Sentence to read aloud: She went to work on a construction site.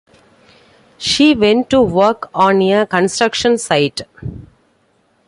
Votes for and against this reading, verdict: 2, 0, accepted